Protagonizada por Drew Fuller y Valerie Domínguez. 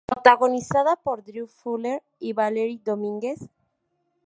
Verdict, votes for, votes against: rejected, 0, 2